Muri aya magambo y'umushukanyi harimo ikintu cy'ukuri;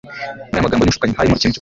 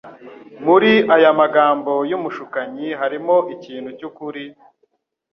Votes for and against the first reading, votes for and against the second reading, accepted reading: 0, 2, 2, 0, second